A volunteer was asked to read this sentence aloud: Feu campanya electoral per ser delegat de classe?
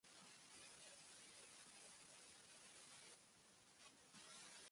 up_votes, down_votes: 0, 2